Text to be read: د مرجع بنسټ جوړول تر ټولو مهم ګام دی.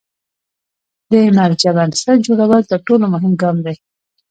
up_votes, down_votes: 1, 2